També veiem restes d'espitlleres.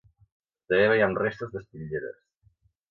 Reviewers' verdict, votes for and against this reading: rejected, 1, 2